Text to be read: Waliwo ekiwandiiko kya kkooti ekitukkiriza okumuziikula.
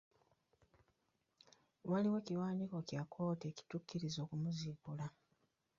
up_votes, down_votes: 0, 2